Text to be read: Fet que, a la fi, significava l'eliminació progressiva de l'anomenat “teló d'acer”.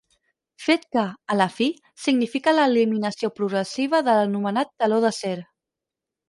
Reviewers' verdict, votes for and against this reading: rejected, 2, 4